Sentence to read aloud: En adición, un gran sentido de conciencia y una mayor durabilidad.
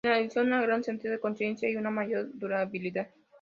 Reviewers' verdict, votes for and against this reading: rejected, 0, 2